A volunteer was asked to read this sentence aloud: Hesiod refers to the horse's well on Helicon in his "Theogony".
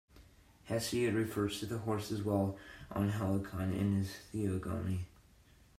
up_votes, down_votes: 1, 2